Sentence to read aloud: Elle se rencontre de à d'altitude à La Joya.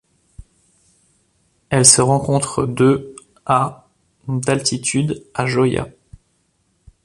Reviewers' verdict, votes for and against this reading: rejected, 1, 2